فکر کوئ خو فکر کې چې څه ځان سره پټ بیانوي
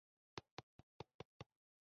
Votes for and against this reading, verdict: 0, 2, rejected